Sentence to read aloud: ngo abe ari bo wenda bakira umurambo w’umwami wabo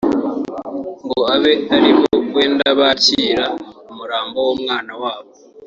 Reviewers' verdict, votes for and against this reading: rejected, 0, 2